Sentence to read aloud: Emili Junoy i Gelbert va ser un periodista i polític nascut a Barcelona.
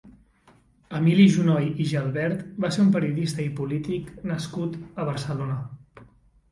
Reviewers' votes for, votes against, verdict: 3, 0, accepted